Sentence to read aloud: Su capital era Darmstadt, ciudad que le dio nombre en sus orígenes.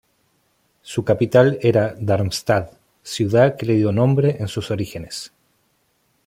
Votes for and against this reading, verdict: 2, 0, accepted